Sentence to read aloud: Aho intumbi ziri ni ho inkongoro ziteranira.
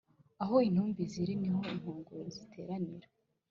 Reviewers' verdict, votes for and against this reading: accepted, 2, 0